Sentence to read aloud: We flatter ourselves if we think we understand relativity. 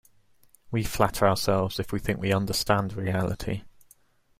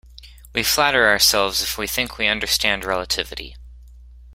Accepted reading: second